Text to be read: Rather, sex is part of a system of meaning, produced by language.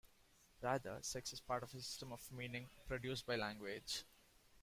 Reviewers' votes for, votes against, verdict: 2, 1, accepted